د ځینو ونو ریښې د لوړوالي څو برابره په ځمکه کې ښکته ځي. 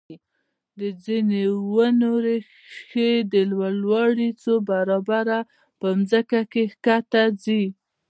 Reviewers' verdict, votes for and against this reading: rejected, 1, 2